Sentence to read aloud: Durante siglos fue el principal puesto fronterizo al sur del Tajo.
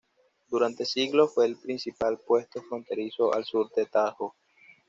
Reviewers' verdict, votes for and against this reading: accepted, 2, 0